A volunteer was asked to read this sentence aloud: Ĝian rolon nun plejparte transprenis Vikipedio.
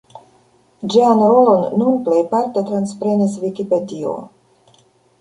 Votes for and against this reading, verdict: 1, 2, rejected